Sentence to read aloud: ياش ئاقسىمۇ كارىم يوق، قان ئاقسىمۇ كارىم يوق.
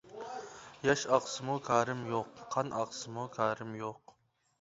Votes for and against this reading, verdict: 2, 0, accepted